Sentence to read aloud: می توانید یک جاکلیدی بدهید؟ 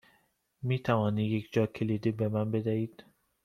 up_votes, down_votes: 1, 2